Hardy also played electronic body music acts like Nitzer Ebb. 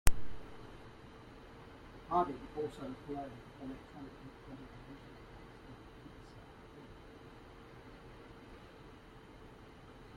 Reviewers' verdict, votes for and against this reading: rejected, 0, 2